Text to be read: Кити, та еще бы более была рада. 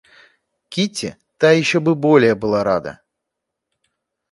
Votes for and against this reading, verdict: 2, 0, accepted